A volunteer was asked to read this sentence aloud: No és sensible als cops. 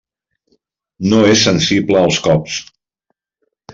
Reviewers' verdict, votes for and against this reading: accepted, 3, 0